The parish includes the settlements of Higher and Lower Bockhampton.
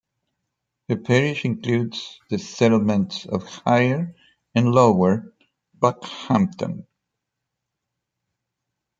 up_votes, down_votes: 2, 0